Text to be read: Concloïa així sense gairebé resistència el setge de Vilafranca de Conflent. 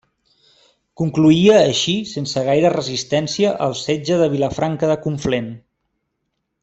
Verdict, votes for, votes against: rejected, 0, 2